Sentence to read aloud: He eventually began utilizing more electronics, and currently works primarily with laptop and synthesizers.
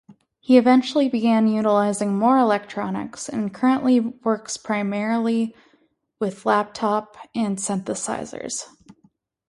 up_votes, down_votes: 4, 0